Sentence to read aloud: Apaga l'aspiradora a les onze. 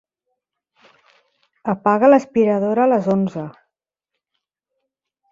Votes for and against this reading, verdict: 4, 0, accepted